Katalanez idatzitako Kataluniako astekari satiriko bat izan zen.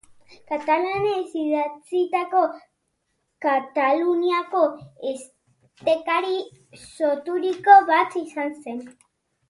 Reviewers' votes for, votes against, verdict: 0, 2, rejected